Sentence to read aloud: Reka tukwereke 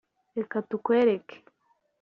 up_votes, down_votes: 2, 0